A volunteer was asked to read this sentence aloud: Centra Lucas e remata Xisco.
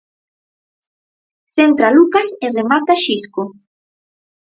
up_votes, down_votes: 4, 0